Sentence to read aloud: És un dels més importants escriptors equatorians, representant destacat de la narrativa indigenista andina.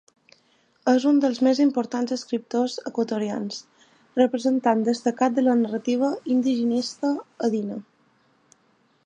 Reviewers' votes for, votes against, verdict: 2, 0, accepted